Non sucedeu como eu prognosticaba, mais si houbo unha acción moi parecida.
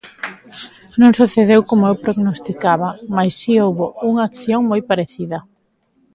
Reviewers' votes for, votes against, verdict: 0, 2, rejected